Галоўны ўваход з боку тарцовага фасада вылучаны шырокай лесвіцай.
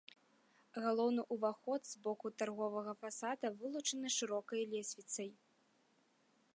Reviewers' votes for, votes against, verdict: 1, 2, rejected